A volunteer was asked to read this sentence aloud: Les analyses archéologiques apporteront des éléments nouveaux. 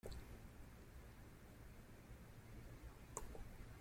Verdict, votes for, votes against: rejected, 0, 2